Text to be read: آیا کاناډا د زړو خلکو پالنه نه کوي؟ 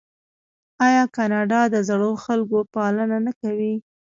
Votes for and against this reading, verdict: 2, 0, accepted